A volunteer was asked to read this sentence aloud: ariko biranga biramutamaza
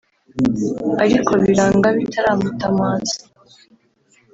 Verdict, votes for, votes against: rejected, 1, 2